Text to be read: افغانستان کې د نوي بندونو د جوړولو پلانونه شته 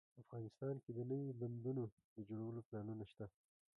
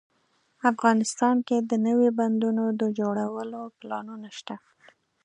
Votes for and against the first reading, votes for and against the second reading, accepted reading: 1, 2, 2, 0, second